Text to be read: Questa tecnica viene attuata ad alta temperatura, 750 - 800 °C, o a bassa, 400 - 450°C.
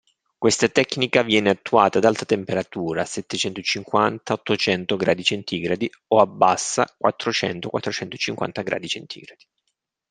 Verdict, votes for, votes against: rejected, 0, 2